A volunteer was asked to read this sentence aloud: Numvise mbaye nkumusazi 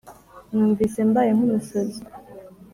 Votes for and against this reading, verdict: 1, 2, rejected